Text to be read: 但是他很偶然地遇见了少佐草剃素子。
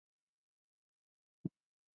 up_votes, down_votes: 0, 2